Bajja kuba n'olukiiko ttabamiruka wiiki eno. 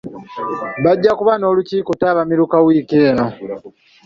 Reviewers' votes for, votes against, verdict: 2, 1, accepted